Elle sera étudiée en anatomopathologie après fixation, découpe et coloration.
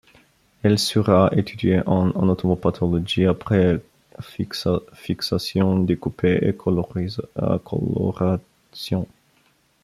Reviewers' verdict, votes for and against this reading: rejected, 0, 2